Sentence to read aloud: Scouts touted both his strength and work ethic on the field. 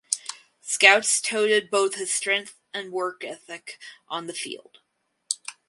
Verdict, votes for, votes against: rejected, 2, 2